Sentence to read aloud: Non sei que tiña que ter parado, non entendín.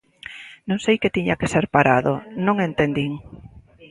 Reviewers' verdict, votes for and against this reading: rejected, 0, 2